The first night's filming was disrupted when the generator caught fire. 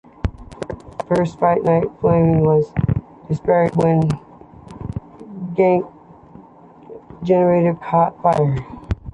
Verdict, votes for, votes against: accepted, 2, 1